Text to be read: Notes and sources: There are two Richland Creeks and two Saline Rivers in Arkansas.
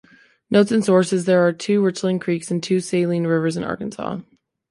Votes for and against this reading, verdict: 2, 1, accepted